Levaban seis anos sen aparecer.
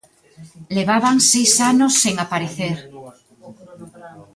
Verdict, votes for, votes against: accepted, 2, 1